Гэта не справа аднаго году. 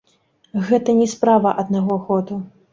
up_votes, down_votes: 2, 1